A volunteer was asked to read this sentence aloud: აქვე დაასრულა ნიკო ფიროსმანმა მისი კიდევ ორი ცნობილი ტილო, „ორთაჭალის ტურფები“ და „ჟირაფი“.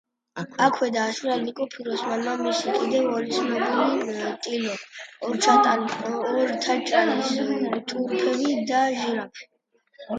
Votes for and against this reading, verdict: 1, 2, rejected